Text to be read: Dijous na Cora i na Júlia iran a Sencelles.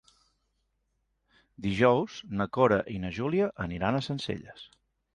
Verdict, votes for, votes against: rejected, 1, 2